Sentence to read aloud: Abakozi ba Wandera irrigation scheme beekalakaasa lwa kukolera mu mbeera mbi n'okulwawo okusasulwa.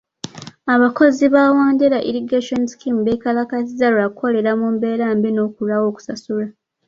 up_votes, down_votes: 1, 2